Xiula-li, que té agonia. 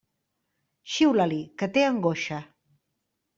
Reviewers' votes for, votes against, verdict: 0, 2, rejected